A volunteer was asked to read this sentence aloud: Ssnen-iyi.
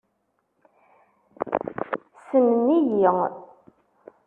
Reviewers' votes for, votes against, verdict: 2, 1, accepted